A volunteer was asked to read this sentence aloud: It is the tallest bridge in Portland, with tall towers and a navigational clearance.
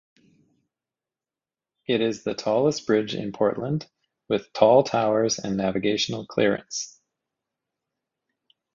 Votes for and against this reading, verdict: 2, 0, accepted